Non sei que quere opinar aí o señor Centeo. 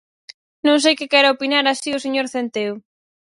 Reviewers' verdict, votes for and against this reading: rejected, 0, 4